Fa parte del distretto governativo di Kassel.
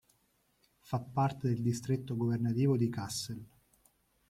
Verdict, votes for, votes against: accepted, 2, 0